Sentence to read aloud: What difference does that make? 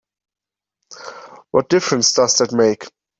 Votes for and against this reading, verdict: 2, 0, accepted